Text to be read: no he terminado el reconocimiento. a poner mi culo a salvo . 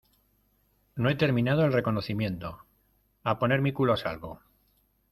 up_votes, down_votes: 2, 0